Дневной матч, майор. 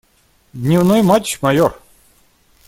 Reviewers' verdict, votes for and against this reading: accepted, 2, 0